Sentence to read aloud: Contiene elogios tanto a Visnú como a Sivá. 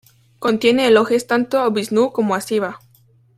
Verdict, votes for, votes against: accepted, 2, 1